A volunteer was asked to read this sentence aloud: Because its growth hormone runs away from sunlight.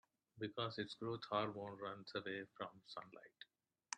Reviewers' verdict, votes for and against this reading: accepted, 2, 0